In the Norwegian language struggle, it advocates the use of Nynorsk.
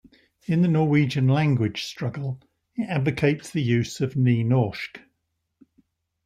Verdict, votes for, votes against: accepted, 2, 0